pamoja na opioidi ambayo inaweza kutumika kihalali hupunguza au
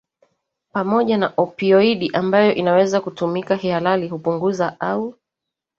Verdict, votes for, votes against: accepted, 2, 0